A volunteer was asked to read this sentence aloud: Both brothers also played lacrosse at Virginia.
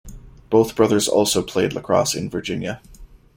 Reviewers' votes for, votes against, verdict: 1, 2, rejected